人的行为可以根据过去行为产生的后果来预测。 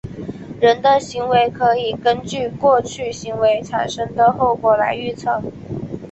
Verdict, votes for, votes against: accepted, 3, 0